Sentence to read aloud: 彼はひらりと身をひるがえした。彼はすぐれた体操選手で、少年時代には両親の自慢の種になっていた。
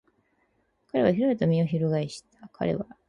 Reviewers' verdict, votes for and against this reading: rejected, 0, 2